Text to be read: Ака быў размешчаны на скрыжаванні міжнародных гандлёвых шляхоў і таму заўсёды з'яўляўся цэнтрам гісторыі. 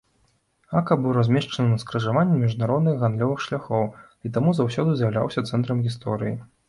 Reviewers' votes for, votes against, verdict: 2, 0, accepted